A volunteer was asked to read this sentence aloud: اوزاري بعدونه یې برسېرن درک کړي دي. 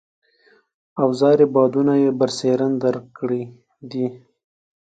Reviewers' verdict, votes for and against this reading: accepted, 2, 0